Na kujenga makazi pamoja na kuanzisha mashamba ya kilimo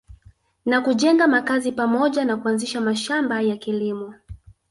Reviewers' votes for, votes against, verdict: 2, 0, accepted